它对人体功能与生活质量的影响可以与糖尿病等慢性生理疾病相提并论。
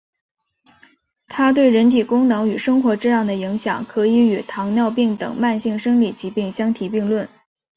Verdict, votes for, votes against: accepted, 2, 1